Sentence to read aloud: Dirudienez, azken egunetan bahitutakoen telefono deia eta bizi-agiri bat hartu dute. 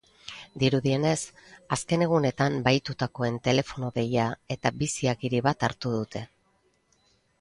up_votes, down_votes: 2, 0